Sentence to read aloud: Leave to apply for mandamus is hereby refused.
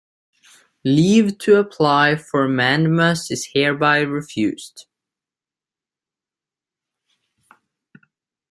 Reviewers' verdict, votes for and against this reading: accepted, 3, 0